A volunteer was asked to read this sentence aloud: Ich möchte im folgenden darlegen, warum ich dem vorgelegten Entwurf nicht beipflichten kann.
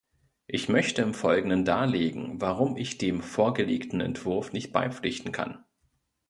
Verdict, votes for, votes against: accepted, 2, 0